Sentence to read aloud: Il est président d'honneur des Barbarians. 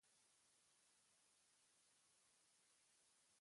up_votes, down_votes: 0, 2